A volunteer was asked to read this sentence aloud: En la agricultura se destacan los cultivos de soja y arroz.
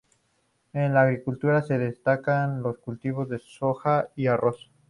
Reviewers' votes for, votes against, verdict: 2, 0, accepted